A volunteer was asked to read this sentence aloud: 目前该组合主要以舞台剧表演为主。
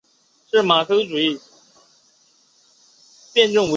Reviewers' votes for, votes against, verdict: 1, 2, rejected